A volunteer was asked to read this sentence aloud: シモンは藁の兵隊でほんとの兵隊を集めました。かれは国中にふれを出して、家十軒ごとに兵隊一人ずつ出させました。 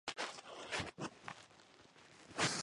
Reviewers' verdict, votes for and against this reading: rejected, 0, 2